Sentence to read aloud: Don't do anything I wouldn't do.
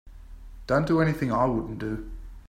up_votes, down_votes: 2, 0